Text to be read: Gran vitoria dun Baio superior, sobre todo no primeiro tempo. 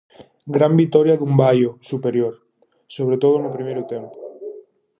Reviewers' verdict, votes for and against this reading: rejected, 2, 2